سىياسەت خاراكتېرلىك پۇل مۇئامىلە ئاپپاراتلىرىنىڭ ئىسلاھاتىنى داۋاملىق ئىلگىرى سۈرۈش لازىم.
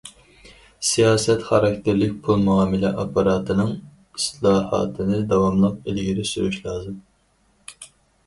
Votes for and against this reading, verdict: 0, 4, rejected